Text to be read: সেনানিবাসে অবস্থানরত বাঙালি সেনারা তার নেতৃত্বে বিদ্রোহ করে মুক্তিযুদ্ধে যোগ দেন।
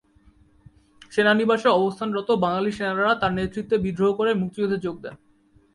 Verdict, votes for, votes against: rejected, 1, 2